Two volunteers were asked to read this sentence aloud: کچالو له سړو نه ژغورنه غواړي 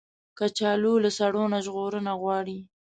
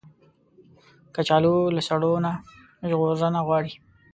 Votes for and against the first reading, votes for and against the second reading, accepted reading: 2, 0, 1, 2, first